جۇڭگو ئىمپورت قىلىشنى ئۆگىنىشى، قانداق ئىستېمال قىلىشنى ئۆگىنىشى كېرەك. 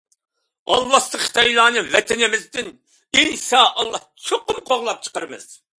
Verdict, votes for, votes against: rejected, 0, 2